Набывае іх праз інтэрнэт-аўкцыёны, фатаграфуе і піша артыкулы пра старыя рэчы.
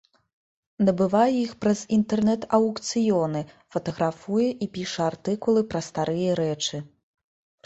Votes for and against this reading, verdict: 2, 0, accepted